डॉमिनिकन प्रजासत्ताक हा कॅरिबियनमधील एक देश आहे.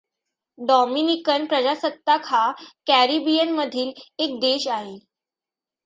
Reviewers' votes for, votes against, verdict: 2, 0, accepted